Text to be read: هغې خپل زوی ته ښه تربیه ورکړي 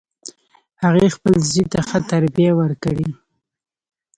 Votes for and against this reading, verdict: 2, 1, accepted